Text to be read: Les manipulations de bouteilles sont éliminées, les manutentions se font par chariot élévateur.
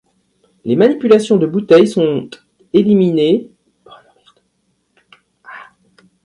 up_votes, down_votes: 0, 2